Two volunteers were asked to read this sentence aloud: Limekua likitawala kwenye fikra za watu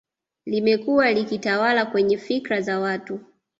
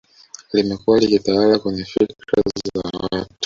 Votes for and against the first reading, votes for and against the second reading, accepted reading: 2, 0, 0, 2, first